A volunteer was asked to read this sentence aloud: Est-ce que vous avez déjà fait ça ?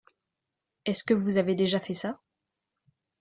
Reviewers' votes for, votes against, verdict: 2, 0, accepted